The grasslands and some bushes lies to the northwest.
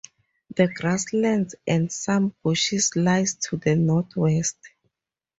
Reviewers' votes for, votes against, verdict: 4, 0, accepted